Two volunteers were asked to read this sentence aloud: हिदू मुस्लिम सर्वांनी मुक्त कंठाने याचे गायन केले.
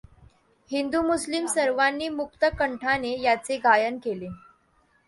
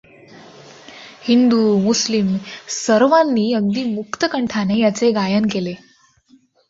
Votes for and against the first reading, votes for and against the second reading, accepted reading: 2, 0, 0, 2, first